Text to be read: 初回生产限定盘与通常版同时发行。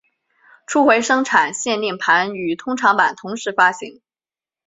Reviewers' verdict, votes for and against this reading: accepted, 3, 0